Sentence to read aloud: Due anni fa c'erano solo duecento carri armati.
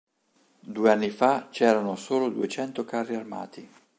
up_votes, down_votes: 2, 0